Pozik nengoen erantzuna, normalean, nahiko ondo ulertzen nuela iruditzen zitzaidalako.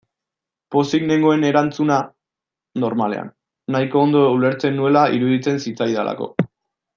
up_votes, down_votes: 2, 0